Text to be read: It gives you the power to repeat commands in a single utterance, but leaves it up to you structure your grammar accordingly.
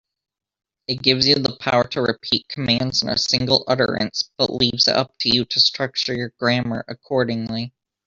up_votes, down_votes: 2, 1